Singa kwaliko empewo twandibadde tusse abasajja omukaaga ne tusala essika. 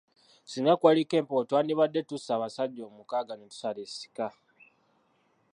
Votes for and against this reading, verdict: 0, 2, rejected